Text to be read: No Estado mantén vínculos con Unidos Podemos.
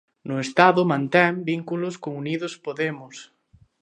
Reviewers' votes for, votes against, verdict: 2, 0, accepted